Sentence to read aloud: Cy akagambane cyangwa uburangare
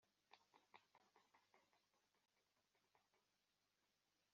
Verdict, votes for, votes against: rejected, 1, 2